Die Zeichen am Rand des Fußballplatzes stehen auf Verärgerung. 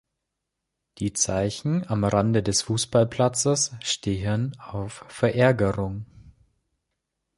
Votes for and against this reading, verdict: 2, 0, accepted